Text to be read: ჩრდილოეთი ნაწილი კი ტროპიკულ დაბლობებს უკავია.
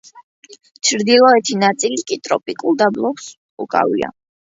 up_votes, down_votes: 2, 0